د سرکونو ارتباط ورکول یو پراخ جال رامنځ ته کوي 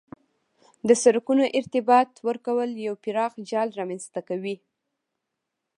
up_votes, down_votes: 1, 2